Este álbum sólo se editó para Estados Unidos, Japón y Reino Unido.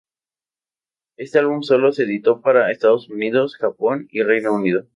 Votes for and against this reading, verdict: 0, 2, rejected